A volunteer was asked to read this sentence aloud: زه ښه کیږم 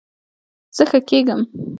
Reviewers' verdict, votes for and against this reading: rejected, 1, 2